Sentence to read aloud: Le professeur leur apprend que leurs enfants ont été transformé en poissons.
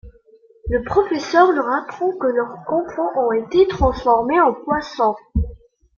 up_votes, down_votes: 1, 2